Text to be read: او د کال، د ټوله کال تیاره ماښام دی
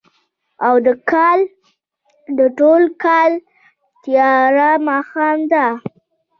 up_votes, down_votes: 2, 0